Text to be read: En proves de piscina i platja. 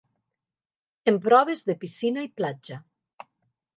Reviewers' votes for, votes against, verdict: 2, 0, accepted